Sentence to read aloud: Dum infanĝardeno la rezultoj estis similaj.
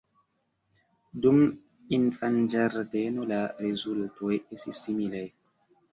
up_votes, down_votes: 0, 2